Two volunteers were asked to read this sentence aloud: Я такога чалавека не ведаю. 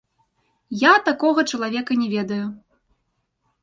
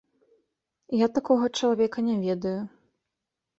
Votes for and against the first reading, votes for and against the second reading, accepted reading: 1, 3, 2, 0, second